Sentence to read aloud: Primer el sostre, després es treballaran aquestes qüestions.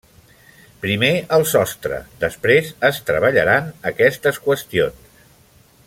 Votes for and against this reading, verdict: 3, 0, accepted